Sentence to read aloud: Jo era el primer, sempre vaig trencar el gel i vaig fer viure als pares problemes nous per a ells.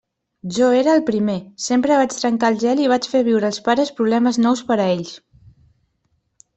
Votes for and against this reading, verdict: 2, 0, accepted